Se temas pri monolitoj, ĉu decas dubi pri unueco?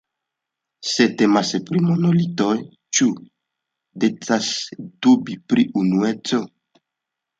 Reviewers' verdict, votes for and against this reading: accepted, 2, 0